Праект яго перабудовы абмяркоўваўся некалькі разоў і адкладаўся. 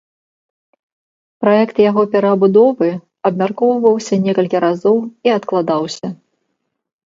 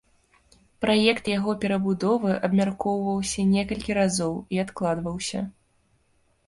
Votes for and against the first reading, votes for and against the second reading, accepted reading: 2, 0, 0, 2, first